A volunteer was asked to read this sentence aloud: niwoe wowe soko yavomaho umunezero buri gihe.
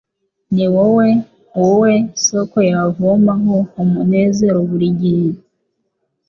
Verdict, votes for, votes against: accepted, 2, 0